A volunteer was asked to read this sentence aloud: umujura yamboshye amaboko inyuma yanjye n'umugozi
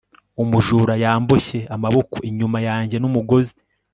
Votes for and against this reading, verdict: 3, 0, accepted